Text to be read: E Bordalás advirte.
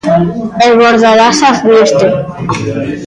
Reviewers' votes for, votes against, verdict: 0, 2, rejected